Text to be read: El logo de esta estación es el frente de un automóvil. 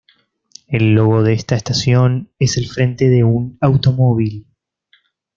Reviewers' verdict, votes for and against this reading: accepted, 2, 0